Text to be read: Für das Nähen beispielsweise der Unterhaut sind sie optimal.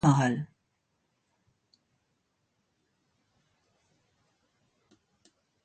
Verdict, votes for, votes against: rejected, 0, 2